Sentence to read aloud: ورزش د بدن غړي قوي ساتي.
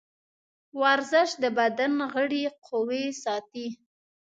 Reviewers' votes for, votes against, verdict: 1, 2, rejected